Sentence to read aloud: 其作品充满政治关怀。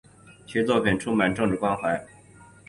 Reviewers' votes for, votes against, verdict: 4, 0, accepted